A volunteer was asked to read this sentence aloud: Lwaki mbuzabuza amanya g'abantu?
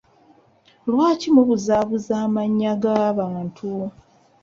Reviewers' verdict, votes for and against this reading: rejected, 0, 2